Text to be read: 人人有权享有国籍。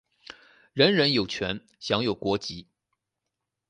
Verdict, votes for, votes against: accepted, 4, 0